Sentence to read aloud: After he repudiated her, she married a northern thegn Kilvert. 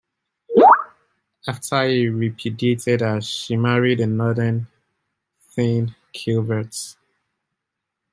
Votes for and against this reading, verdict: 0, 2, rejected